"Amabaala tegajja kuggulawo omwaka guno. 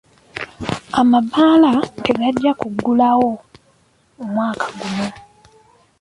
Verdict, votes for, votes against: rejected, 1, 2